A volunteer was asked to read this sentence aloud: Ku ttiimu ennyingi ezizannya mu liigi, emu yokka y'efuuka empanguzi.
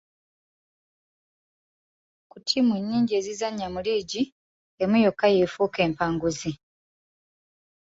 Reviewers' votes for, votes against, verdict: 2, 0, accepted